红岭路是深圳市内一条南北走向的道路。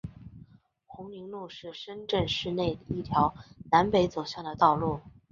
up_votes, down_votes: 4, 2